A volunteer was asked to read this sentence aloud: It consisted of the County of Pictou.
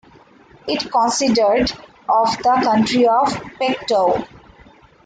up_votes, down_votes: 0, 2